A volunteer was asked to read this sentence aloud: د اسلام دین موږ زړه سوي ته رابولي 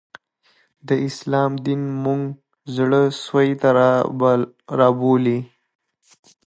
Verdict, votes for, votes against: accepted, 2, 0